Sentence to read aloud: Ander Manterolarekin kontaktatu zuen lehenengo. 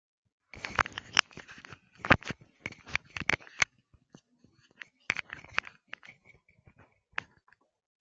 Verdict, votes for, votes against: rejected, 0, 2